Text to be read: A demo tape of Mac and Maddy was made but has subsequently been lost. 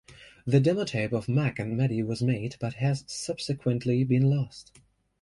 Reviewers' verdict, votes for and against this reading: rejected, 1, 2